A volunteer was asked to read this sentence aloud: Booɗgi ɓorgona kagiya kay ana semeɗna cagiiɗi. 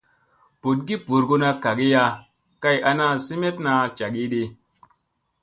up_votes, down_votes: 2, 0